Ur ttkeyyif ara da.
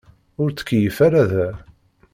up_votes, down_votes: 2, 0